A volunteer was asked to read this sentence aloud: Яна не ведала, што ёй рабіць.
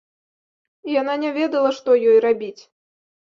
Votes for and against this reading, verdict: 2, 0, accepted